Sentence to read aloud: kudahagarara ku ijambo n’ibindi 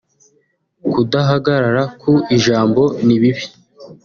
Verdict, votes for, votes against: rejected, 0, 2